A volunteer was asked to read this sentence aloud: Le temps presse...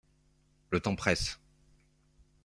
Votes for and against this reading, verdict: 2, 0, accepted